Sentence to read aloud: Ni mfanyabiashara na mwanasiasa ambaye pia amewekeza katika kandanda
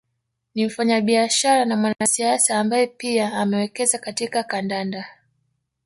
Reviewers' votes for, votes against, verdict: 2, 0, accepted